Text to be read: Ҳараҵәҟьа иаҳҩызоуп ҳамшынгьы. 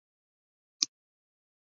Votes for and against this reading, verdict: 1, 2, rejected